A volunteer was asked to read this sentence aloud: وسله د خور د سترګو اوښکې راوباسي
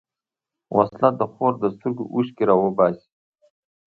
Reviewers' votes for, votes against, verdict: 1, 2, rejected